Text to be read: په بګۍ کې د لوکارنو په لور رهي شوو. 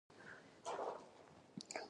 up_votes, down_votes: 1, 2